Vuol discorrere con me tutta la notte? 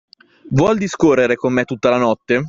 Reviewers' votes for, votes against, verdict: 1, 2, rejected